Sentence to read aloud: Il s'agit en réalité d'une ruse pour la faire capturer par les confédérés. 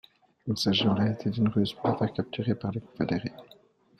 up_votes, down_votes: 2, 1